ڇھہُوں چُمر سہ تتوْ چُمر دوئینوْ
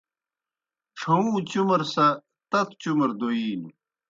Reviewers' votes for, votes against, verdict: 2, 0, accepted